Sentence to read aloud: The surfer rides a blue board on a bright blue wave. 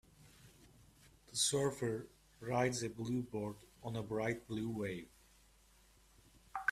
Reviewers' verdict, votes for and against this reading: accepted, 2, 0